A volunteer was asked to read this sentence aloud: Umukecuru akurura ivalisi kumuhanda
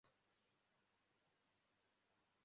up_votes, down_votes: 0, 2